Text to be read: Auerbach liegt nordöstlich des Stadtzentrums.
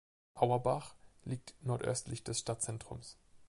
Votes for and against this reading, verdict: 2, 0, accepted